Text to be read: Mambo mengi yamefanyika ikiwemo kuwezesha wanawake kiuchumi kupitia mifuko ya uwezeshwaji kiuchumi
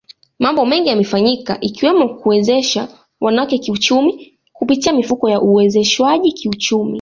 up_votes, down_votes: 2, 0